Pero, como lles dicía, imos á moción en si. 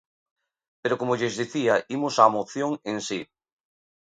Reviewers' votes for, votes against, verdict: 1, 2, rejected